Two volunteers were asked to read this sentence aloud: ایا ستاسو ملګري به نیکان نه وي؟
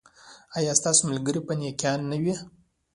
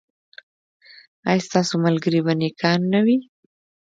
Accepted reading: first